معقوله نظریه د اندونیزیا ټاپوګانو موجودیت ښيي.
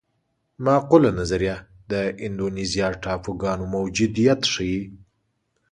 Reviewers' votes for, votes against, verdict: 2, 0, accepted